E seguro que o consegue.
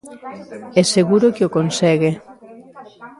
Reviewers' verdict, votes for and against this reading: rejected, 1, 2